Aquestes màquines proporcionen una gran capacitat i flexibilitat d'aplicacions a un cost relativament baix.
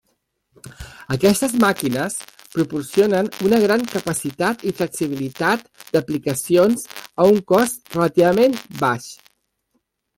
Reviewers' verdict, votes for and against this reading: rejected, 1, 2